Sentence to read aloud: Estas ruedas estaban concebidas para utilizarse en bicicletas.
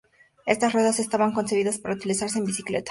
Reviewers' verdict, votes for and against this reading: accepted, 2, 0